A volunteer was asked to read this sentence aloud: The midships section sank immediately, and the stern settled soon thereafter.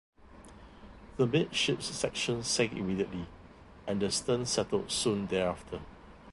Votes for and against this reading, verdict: 0, 2, rejected